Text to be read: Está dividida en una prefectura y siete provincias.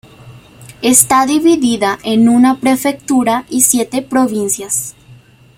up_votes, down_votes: 2, 0